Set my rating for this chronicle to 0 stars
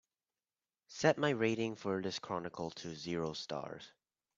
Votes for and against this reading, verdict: 0, 2, rejected